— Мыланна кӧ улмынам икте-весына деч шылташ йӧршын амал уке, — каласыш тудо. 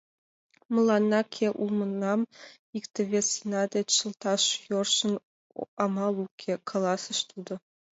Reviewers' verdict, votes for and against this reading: rejected, 1, 2